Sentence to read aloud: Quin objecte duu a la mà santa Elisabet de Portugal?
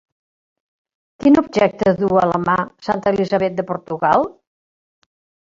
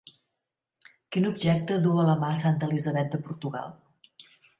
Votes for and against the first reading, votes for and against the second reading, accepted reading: 1, 2, 2, 0, second